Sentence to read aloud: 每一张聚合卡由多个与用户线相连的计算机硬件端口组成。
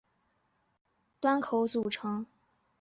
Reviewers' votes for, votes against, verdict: 6, 7, rejected